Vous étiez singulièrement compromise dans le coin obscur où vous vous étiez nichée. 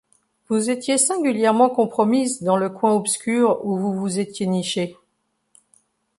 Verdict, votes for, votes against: accepted, 2, 0